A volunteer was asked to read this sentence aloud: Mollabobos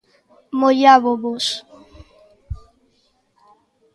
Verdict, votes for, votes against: rejected, 0, 2